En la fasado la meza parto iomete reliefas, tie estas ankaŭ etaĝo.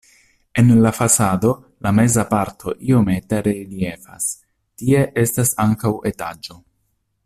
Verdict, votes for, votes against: accepted, 2, 1